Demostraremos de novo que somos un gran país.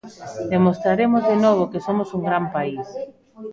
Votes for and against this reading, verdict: 1, 2, rejected